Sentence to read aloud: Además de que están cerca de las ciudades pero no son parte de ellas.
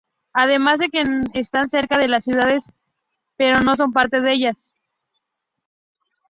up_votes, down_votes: 2, 0